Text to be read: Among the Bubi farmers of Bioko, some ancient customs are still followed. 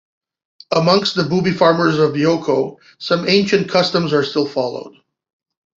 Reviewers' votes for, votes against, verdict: 1, 2, rejected